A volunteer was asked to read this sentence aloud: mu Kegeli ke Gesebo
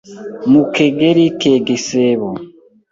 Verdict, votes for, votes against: rejected, 1, 2